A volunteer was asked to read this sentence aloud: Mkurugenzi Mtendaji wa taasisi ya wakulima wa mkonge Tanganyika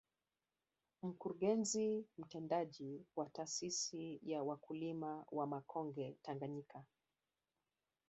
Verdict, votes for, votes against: rejected, 1, 3